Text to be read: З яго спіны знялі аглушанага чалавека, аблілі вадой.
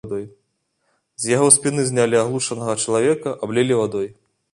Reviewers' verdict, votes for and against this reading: accepted, 2, 1